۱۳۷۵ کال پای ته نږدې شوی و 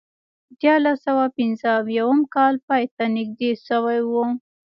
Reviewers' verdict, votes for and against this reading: rejected, 0, 2